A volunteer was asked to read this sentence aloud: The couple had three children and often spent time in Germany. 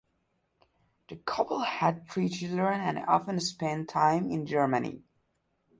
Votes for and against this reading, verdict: 2, 0, accepted